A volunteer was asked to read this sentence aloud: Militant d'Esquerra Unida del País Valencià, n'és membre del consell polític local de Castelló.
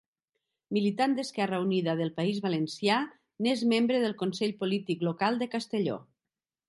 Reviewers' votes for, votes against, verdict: 2, 0, accepted